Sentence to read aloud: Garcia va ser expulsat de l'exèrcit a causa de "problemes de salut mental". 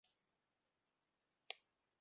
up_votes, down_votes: 0, 2